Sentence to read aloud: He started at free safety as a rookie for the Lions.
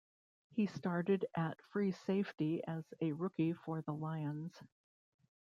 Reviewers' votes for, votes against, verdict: 0, 2, rejected